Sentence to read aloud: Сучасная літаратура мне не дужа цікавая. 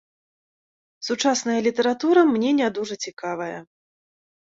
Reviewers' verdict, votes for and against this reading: accepted, 2, 0